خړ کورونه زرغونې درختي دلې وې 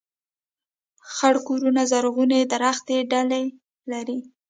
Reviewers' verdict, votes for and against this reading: rejected, 2, 3